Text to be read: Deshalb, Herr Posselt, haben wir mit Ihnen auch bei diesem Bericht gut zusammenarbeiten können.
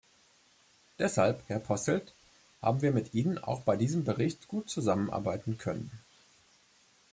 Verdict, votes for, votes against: accepted, 2, 0